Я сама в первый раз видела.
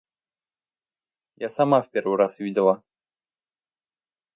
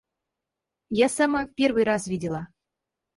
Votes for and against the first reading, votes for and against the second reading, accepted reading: 2, 0, 0, 4, first